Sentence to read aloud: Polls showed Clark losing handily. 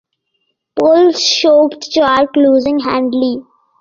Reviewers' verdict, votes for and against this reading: accepted, 2, 0